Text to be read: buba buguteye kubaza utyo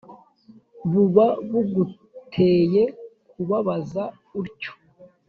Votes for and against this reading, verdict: 1, 2, rejected